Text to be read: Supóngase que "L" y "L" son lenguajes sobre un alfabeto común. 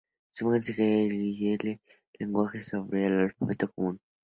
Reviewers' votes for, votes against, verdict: 0, 2, rejected